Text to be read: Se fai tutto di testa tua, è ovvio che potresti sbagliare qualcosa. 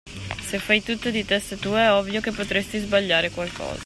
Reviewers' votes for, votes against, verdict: 2, 0, accepted